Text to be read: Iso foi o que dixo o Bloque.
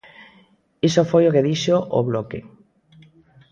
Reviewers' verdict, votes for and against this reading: rejected, 1, 2